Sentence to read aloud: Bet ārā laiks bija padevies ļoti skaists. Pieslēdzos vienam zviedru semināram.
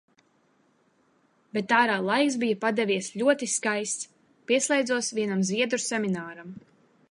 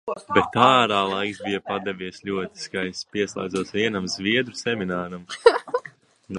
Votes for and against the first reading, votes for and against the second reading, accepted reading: 2, 0, 0, 2, first